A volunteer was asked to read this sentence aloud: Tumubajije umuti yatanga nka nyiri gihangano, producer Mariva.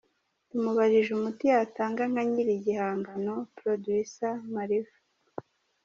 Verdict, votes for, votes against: accepted, 2, 0